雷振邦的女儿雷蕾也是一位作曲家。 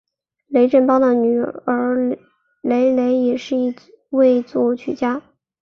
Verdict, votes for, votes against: accepted, 9, 2